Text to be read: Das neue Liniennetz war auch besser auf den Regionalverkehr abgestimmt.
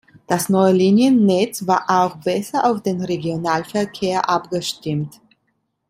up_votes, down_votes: 2, 0